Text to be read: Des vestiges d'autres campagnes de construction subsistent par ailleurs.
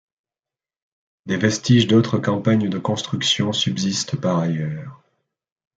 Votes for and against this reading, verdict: 2, 0, accepted